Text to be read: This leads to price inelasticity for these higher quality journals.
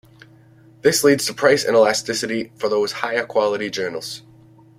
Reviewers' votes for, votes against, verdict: 1, 2, rejected